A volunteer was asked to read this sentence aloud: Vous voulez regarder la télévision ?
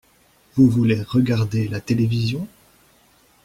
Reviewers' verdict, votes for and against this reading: accepted, 2, 0